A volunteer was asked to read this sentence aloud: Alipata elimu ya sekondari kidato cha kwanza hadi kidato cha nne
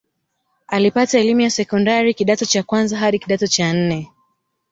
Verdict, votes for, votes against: rejected, 0, 2